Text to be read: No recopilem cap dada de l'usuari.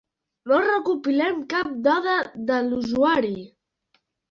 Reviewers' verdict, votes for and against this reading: accepted, 3, 0